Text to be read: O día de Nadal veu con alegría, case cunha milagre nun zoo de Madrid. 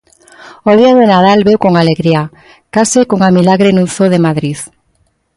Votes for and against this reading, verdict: 2, 0, accepted